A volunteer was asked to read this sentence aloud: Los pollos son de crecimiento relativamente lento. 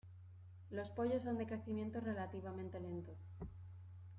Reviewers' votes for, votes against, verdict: 2, 0, accepted